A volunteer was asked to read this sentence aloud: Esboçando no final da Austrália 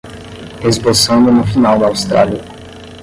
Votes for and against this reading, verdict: 5, 5, rejected